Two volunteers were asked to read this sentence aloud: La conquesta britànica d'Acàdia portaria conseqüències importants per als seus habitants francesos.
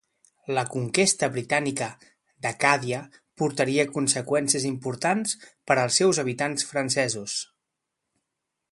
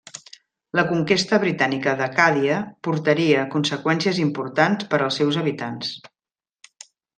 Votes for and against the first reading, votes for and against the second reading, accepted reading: 2, 0, 0, 2, first